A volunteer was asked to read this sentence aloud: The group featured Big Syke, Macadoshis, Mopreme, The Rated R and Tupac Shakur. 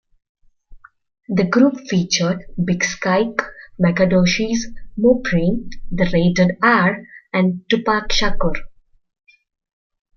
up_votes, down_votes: 0, 2